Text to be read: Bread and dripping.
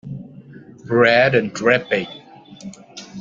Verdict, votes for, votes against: accepted, 2, 1